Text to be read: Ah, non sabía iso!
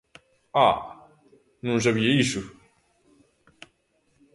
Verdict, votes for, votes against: accepted, 2, 0